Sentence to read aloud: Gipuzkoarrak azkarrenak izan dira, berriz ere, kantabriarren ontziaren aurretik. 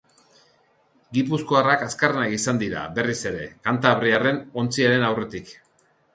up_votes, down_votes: 2, 0